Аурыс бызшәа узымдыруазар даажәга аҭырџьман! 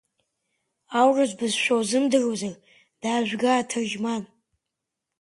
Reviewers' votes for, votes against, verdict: 7, 1, accepted